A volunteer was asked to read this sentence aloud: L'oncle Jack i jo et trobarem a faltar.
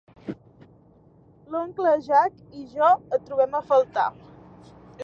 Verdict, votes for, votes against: rejected, 0, 2